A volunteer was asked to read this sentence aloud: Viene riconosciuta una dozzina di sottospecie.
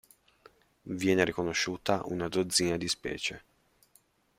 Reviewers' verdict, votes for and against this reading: rejected, 0, 2